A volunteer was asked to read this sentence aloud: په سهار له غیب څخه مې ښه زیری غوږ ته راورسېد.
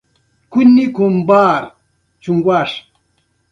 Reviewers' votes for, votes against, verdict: 1, 2, rejected